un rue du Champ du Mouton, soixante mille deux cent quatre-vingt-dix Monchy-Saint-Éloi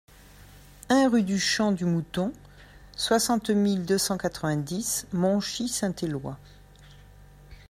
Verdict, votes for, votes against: accepted, 2, 0